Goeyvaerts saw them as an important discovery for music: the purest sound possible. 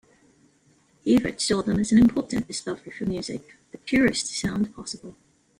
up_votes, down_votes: 1, 2